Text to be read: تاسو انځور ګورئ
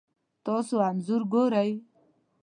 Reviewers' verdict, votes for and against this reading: accepted, 2, 0